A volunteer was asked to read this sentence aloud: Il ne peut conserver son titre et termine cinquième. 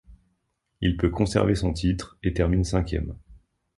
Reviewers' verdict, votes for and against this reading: rejected, 0, 2